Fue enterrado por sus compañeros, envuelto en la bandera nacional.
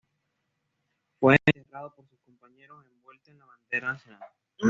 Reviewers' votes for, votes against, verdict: 1, 2, rejected